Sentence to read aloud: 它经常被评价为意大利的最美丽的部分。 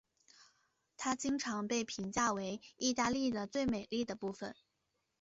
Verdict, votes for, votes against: accepted, 2, 0